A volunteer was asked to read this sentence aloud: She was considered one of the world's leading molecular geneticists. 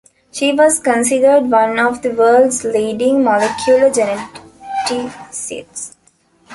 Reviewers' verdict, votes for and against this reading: rejected, 0, 2